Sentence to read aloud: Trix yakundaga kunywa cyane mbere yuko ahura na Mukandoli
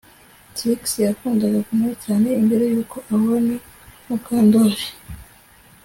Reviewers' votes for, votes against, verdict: 2, 0, accepted